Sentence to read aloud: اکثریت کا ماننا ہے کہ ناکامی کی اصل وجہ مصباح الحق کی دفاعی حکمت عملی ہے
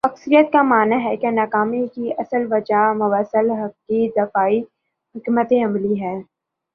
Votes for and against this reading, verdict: 1, 2, rejected